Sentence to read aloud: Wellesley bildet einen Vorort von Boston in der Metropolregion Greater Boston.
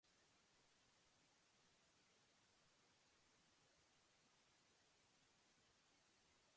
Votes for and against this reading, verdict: 0, 2, rejected